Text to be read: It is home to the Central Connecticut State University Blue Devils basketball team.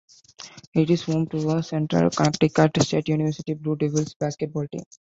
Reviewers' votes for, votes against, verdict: 2, 1, accepted